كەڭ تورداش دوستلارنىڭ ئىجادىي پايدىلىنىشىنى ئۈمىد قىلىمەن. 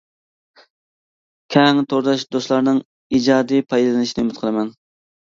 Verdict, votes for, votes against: accepted, 2, 0